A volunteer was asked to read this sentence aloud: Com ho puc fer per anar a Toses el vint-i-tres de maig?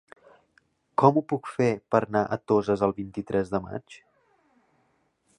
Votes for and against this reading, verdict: 0, 2, rejected